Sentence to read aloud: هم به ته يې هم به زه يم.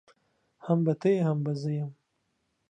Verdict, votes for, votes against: accepted, 2, 0